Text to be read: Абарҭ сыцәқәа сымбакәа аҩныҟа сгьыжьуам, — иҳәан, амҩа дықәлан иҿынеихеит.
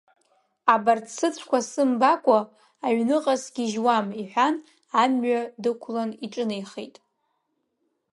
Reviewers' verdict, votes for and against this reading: accepted, 2, 0